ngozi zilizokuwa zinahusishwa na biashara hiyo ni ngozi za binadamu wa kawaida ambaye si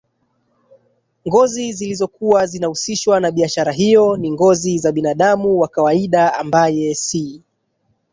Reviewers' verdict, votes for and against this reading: rejected, 0, 3